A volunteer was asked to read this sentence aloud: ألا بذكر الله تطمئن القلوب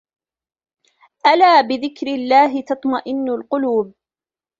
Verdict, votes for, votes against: rejected, 0, 2